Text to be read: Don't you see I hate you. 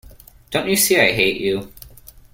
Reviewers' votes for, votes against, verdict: 2, 0, accepted